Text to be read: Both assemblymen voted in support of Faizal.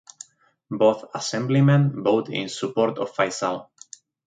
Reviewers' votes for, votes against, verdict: 0, 2, rejected